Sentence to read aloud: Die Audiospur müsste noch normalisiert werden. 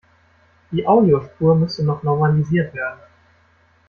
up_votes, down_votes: 2, 0